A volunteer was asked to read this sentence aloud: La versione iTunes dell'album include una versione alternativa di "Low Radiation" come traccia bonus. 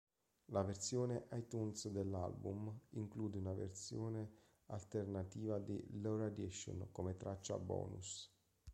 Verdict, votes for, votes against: rejected, 1, 2